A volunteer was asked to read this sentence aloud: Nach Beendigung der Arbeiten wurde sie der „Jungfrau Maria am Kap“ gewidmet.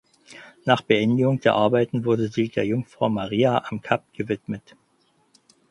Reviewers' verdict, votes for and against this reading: accepted, 4, 0